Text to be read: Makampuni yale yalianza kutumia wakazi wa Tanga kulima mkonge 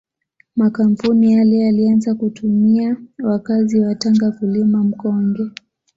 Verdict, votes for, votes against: accepted, 2, 0